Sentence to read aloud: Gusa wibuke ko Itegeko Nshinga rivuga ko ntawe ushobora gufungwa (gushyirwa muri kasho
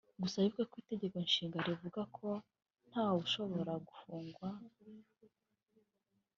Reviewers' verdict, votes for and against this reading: rejected, 1, 2